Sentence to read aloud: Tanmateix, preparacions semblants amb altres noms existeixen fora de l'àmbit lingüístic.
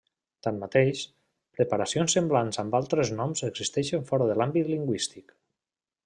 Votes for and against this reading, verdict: 3, 0, accepted